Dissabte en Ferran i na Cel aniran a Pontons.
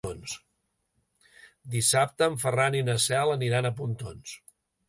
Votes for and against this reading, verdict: 1, 2, rejected